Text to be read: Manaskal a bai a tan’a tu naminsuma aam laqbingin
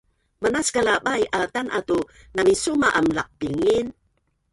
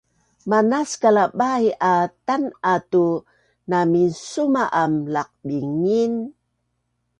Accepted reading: second